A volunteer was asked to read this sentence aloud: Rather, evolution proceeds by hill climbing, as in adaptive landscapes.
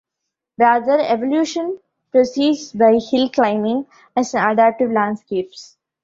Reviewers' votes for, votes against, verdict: 1, 2, rejected